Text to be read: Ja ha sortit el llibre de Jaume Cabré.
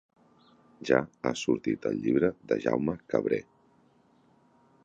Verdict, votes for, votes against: accepted, 3, 0